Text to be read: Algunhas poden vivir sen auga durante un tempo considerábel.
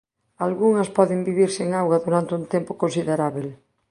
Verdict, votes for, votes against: accepted, 7, 0